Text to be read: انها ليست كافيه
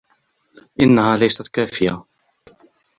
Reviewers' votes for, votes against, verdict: 2, 0, accepted